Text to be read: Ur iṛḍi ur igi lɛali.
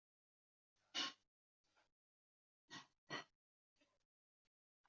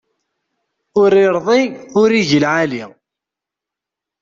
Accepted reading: second